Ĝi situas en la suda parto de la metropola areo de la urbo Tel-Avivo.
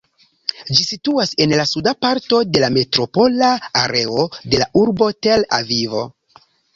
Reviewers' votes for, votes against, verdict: 1, 2, rejected